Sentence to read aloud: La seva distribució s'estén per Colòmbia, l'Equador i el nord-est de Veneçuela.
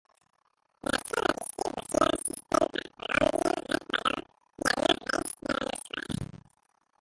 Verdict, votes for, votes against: rejected, 0, 2